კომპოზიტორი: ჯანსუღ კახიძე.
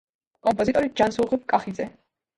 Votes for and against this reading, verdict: 2, 1, accepted